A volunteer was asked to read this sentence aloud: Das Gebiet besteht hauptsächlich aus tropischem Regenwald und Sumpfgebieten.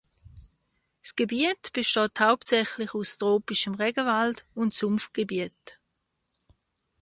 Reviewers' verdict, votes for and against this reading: rejected, 0, 2